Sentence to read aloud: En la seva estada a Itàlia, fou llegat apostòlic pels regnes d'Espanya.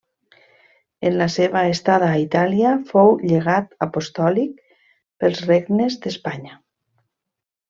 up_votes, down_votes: 3, 1